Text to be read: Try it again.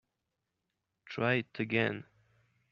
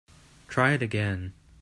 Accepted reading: second